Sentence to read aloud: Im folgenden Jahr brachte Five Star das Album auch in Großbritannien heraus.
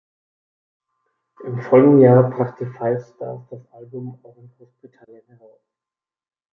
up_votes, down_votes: 1, 2